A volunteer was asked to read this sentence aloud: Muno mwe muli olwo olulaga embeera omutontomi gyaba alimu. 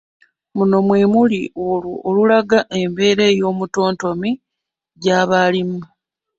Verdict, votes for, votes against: rejected, 0, 2